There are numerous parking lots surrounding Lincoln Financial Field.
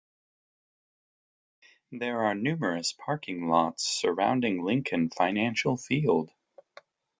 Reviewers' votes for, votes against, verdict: 2, 0, accepted